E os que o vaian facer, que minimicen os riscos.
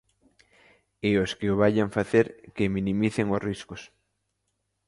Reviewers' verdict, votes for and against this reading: accepted, 2, 0